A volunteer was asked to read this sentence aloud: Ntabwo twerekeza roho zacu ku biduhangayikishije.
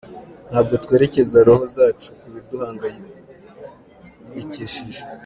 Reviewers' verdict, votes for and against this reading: accepted, 3, 0